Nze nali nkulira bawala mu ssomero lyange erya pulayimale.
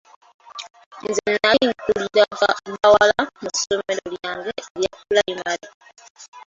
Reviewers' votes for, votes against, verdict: 0, 2, rejected